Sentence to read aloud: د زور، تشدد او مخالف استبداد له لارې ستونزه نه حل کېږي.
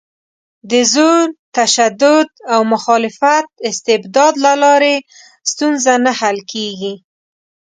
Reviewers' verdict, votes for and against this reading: rejected, 1, 2